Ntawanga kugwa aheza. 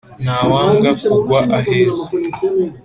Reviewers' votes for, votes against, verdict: 3, 0, accepted